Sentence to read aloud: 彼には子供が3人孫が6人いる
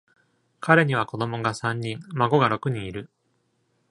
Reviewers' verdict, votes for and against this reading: rejected, 0, 2